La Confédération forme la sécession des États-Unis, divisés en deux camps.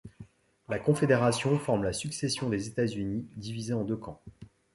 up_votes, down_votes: 1, 2